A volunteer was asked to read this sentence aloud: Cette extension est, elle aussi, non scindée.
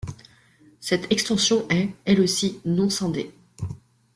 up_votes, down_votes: 0, 2